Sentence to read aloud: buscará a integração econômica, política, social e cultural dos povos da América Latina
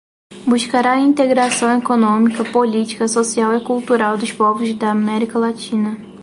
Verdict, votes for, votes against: accepted, 2, 0